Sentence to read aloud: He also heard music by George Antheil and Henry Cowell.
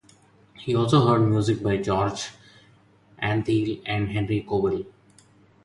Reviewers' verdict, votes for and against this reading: accepted, 4, 0